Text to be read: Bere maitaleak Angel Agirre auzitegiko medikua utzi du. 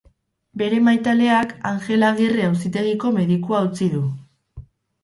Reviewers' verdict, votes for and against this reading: accepted, 4, 0